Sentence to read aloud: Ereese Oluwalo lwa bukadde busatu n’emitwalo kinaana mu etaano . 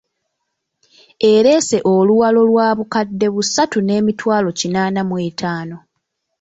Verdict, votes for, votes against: accepted, 2, 0